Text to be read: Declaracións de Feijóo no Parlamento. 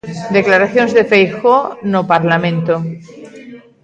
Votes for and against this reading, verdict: 1, 2, rejected